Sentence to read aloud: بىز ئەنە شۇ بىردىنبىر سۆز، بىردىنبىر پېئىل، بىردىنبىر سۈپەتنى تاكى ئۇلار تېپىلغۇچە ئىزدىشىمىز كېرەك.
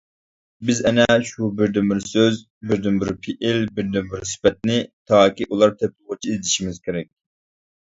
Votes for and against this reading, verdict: 2, 1, accepted